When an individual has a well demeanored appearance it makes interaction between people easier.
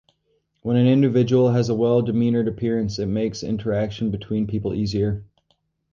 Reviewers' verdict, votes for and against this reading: accepted, 4, 0